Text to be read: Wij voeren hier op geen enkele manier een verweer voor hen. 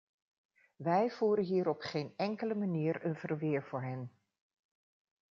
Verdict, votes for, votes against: accepted, 2, 0